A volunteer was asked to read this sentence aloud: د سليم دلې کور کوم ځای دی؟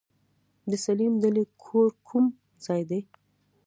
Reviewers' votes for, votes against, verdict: 2, 0, accepted